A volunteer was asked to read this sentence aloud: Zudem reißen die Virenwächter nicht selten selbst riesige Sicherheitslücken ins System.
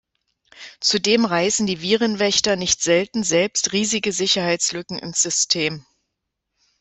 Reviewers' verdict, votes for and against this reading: accepted, 2, 0